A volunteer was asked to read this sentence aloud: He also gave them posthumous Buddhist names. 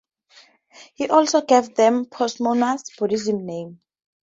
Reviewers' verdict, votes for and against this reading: rejected, 0, 2